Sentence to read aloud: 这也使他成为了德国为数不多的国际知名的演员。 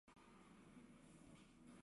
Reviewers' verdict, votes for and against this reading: rejected, 1, 2